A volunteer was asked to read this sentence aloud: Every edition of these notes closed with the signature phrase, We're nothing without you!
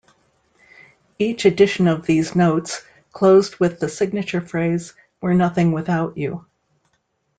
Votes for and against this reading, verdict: 0, 2, rejected